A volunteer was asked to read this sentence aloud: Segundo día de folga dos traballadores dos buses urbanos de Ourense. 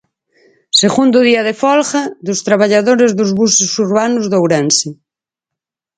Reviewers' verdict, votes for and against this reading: accepted, 4, 0